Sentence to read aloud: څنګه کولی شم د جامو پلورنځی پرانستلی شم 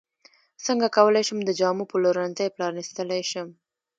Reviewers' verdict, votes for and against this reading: accepted, 2, 1